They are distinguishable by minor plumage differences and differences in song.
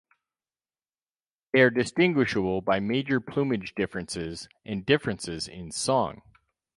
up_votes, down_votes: 2, 4